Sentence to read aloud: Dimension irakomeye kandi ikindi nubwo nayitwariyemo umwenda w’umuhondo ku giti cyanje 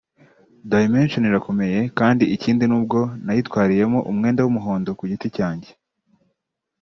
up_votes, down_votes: 2, 0